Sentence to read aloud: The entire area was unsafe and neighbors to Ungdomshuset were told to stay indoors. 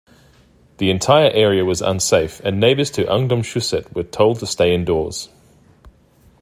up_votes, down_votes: 2, 0